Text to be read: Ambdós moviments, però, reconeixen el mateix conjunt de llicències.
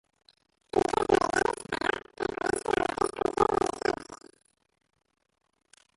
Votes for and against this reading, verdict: 0, 2, rejected